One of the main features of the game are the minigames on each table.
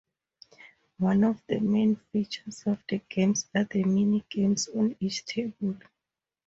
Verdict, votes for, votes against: accepted, 4, 0